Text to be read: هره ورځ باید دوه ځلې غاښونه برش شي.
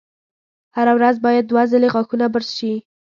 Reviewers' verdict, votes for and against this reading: accepted, 2, 0